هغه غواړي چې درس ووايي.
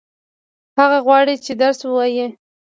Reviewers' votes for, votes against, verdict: 2, 0, accepted